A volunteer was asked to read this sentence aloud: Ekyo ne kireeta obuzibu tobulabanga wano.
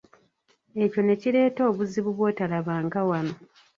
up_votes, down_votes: 0, 2